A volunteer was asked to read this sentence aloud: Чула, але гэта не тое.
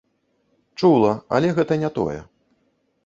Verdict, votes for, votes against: accepted, 2, 1